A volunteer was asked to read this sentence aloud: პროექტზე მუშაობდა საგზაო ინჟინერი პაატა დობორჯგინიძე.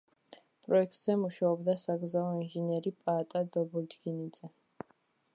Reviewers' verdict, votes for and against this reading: accepted, 2, 0